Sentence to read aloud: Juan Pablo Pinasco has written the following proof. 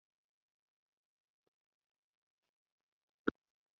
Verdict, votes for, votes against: rejected, 1, 2